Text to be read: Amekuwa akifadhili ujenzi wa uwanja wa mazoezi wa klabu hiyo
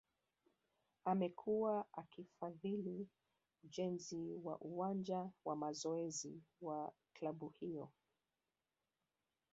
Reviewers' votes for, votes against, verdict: 2, 0, accepted